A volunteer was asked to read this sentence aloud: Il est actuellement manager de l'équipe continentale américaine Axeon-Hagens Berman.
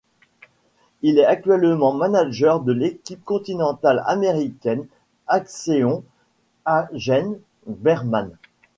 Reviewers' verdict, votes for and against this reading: accepted, 2, 0